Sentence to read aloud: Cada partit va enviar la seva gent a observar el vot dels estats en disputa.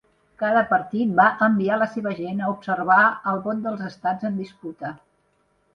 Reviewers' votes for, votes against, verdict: 2, 0, accepted